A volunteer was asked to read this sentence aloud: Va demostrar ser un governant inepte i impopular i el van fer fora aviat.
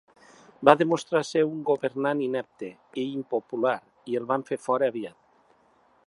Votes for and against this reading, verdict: 2, 0, accepted